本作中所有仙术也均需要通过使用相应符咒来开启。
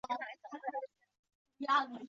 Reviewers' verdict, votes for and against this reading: rejected, 0, 3